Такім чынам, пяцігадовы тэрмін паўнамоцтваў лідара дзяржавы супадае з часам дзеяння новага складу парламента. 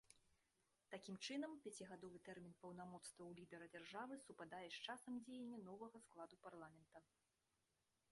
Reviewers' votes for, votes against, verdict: 1, 2, rejected